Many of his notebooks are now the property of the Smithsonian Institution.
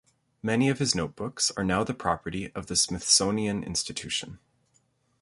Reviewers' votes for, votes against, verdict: 2, 0, accepted